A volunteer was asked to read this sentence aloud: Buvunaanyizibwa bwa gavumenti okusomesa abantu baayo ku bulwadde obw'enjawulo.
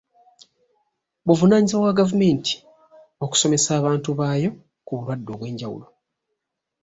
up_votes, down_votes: 2, 0